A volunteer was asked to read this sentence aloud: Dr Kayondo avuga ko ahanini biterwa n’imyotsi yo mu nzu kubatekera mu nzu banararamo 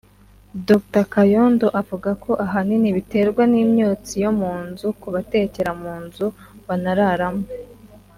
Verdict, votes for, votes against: accepted, 3, 0